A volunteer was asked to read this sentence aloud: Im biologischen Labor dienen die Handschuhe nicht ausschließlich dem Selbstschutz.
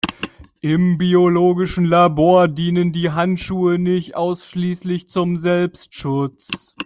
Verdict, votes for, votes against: rejected, 0, 2